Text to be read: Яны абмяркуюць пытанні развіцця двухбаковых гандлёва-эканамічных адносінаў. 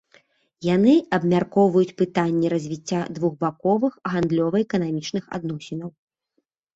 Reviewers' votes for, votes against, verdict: 1, 2, rejected